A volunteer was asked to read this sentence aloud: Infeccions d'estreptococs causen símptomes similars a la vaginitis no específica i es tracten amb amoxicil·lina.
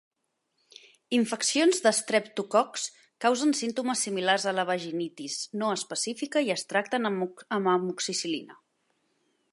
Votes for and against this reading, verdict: 0, 2, rejected